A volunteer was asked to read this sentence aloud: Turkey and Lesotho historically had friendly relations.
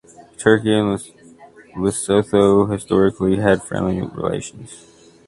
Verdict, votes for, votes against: rejected, 0, 2